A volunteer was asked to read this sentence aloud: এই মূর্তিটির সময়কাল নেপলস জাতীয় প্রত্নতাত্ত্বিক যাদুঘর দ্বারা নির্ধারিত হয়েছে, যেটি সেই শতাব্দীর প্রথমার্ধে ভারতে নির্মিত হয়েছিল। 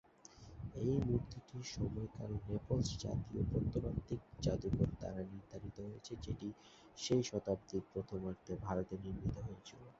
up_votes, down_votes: 1, 2